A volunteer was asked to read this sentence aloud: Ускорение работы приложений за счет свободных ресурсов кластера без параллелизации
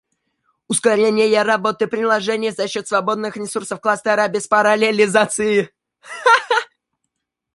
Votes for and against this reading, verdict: 0, 2, rejected